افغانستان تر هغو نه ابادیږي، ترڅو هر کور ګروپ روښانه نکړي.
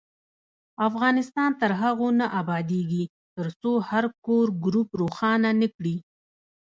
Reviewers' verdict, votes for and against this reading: rejected, 1, 2